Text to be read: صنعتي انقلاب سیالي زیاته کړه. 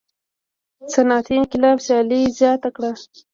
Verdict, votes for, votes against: rejected, 0, 2